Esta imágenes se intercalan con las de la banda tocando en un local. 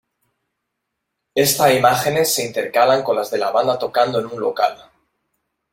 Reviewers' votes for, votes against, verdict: 2, 1, accepted